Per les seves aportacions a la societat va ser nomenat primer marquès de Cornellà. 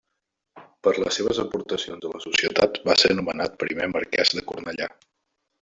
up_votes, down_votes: 0, 2